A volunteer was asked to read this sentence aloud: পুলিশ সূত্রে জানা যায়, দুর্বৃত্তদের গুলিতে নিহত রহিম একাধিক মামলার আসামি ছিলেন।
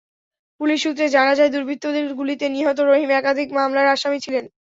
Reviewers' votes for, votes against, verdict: 0, 2, rejected